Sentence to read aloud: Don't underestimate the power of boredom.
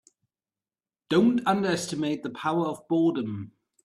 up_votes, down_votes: 3, 0